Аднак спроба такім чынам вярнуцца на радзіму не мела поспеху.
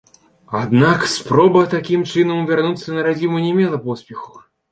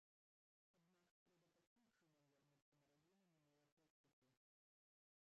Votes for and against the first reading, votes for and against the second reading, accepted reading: 2, 0, 0, 2, first